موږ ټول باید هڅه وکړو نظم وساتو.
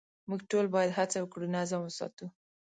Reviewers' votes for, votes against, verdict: 2, 0, accepted